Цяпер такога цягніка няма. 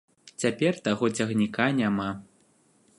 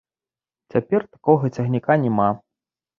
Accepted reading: second